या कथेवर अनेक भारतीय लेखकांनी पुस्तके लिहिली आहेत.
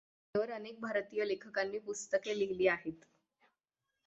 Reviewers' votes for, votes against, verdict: 0, 6, rejected